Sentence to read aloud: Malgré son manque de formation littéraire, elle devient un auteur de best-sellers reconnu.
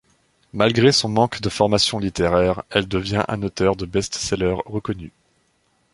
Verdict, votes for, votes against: accepted, 2, 0